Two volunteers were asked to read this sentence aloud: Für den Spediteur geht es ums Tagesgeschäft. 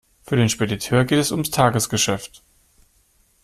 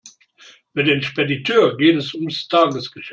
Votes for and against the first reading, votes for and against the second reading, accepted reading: 2, 0, 1, 2, first